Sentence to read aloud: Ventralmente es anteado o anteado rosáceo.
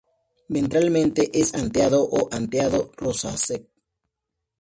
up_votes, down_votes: 2, 0